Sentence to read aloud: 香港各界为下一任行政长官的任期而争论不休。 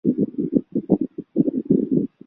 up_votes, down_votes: 0, 2